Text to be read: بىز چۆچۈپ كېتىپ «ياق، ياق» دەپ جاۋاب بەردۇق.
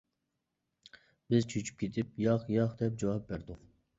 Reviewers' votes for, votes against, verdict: 2, 0, accepted